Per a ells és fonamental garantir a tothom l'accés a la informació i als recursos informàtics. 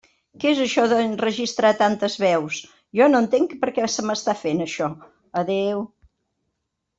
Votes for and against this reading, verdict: 0, 2, rejected